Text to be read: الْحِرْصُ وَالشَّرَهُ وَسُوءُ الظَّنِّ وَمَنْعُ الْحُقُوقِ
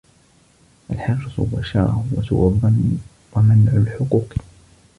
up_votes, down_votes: 1, 2